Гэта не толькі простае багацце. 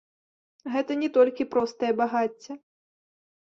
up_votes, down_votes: 3, 0